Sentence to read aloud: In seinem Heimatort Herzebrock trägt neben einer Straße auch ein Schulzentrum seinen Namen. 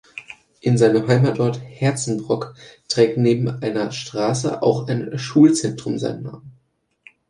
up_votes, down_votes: 0, 2